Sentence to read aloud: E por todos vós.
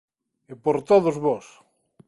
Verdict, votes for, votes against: accepted, 2, 0